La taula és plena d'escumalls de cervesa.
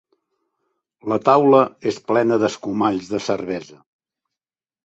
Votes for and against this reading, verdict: 5, 0, accepted